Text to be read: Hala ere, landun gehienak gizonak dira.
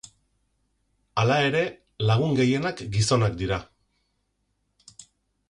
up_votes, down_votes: 0, 4